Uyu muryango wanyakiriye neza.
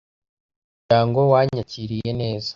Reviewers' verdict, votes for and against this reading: rejected, 0, 2